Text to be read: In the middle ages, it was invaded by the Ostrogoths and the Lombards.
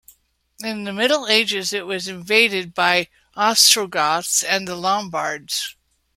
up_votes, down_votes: 0, 2